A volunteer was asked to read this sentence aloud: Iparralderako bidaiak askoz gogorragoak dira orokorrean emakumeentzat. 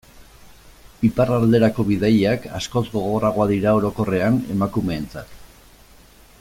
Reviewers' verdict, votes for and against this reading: accepted, 2, 0